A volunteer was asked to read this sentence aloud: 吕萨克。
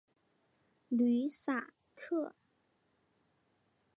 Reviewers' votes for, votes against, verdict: 8, 0, accepted